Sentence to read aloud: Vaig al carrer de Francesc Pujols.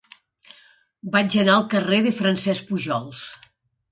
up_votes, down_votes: 0, 2